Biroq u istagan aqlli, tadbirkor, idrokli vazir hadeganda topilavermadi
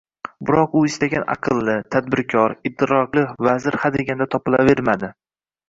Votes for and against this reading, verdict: 2, 0, accepted